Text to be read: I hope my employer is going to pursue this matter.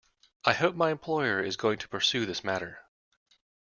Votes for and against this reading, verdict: 2, 0, accepted